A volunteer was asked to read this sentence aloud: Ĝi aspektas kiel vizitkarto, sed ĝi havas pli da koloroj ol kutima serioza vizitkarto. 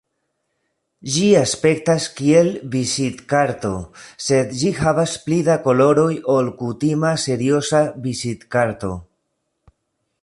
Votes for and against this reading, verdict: 2, 1, accepted